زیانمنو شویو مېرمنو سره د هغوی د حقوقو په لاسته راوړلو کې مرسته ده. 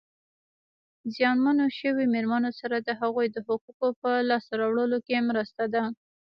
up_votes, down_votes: 1, 2